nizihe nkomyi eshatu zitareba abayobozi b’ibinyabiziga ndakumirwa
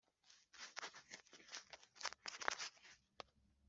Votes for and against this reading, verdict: 0, 2, rejected